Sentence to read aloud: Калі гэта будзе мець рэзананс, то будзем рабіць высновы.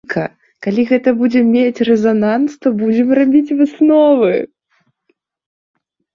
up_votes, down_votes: 0, 2